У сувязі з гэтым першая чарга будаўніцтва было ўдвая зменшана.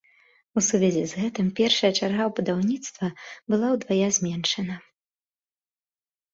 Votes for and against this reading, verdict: 2, 1, accepted